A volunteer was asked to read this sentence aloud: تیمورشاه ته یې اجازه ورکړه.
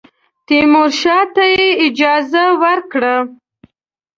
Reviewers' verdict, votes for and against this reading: accepted, 2, 0